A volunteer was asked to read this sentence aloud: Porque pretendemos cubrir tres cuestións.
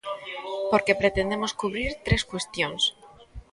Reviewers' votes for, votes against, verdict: 1, 2, rejected